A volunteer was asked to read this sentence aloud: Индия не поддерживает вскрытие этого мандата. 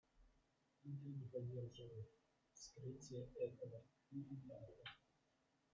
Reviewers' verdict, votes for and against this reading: rejected, 0, 2